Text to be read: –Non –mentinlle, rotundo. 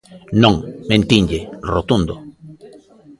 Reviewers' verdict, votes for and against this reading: rejected, 0, 2